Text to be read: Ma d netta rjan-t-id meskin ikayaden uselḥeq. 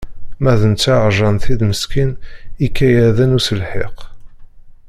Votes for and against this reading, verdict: 1, 2, rejected